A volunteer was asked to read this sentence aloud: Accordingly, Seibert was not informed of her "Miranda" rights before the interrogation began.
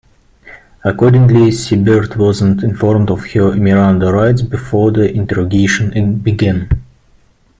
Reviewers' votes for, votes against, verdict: 0, 2, rejected